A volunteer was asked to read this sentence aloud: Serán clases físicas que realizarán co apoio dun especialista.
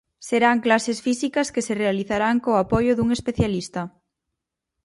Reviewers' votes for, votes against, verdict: 0, 4, rejected